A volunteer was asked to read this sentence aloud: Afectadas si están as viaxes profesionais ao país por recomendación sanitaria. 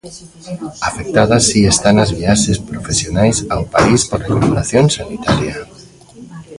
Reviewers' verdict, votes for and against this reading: rejected, 1, 2